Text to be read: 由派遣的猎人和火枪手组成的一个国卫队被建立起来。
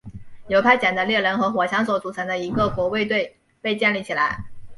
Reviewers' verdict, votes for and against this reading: accepted, 2, 0